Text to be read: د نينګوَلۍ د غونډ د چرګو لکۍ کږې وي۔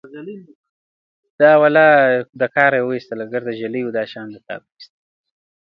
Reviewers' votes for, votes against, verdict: 0, 2, rejected